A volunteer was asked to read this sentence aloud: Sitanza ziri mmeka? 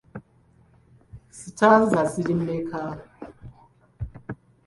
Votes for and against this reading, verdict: 2, 1, accepted